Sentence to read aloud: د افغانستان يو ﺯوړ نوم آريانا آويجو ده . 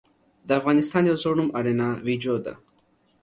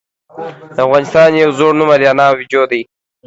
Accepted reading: first